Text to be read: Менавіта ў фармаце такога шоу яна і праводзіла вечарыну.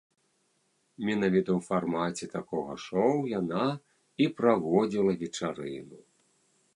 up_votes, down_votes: 1, 2